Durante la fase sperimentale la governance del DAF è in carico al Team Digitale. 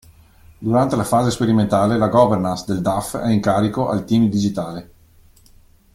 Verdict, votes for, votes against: accepted, 2, 0